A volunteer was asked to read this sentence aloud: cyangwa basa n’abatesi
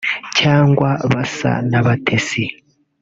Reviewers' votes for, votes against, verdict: 2, 0, accepted